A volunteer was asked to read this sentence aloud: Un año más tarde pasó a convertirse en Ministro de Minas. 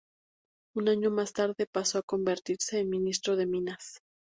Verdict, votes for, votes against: accepted, 4, 0